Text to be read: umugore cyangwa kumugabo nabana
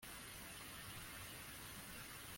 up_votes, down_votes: 0, 2